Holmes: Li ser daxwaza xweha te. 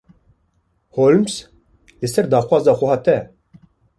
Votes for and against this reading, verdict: 2, 0, accepted